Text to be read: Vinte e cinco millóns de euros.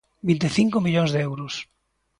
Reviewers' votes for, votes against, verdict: 2, 0, accepted